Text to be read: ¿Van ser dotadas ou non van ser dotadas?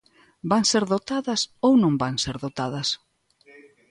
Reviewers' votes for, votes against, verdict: 2, 0, accepted